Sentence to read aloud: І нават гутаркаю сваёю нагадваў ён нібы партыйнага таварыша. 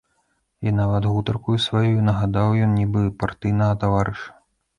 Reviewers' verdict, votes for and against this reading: rejected, 0, 2